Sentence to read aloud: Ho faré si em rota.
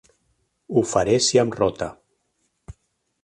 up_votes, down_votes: 2, 0